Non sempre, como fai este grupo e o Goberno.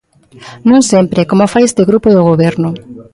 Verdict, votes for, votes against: accepted, 2, 0